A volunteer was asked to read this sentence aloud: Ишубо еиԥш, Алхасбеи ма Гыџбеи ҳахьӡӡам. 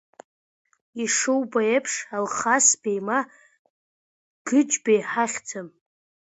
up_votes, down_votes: 2, 0